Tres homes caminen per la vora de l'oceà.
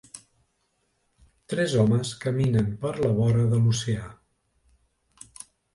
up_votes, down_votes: 2, 0